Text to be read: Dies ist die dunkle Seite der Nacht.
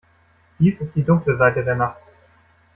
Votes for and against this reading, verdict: 2, 1, accepted